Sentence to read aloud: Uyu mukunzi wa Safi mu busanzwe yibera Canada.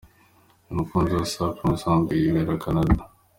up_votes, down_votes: 2, 1